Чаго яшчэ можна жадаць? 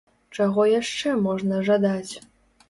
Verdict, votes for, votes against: accepted, 2, 0